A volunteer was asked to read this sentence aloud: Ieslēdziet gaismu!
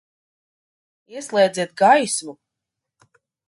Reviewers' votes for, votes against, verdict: 2, 0, accepted